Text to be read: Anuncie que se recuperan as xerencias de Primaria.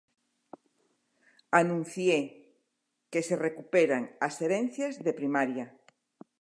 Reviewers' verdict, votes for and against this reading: rejected, 1, 2